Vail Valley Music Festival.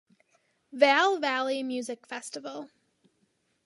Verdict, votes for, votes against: accepted, 3, 0